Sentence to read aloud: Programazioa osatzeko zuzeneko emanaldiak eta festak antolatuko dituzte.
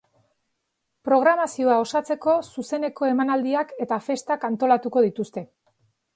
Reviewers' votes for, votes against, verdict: 3, 0, accepted